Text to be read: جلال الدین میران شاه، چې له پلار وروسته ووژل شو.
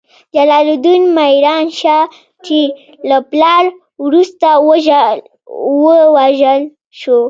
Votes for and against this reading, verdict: 1, 2, rejected